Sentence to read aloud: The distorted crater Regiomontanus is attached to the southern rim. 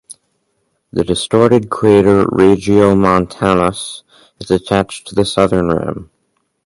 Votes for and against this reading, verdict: 4, 2, accepted